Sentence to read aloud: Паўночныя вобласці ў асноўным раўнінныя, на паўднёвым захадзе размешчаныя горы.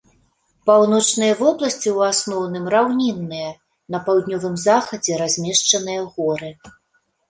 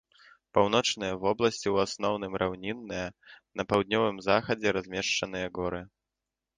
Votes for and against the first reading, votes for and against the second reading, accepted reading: 2, 0, 0, 2, first